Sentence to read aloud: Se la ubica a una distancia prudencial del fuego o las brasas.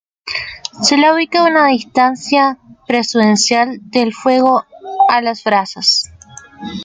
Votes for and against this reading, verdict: 0, 2, rejected